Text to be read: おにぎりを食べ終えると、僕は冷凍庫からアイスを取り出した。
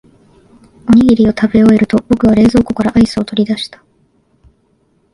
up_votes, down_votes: 1, 2